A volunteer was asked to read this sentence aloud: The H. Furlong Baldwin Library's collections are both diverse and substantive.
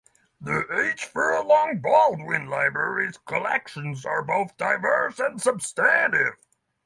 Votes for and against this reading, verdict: 3, 6, rejected